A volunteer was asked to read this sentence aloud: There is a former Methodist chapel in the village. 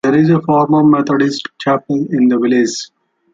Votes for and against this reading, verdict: 2, 0, accepted